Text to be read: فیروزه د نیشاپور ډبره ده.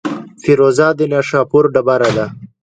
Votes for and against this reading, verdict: 2, 0, accepted